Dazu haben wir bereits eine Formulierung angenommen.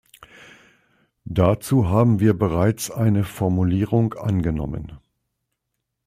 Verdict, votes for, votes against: accepted, 2, 0